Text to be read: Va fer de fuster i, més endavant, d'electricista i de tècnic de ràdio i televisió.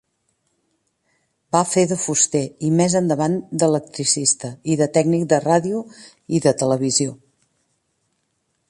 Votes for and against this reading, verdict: 1, 2, rejected